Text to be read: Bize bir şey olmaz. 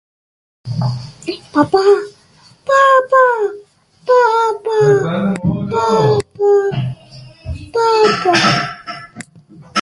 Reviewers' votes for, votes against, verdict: 0, 2, rejected